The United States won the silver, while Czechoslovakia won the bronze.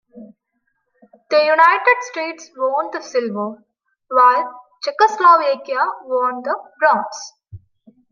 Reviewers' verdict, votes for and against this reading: accepted, 2, 0